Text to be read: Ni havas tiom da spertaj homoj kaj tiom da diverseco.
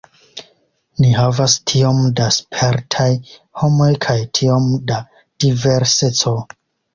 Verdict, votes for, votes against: accepted, 2, 0